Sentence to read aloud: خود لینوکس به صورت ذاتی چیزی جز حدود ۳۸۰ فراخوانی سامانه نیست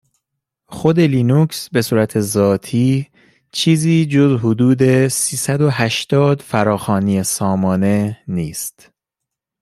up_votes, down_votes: 0, 2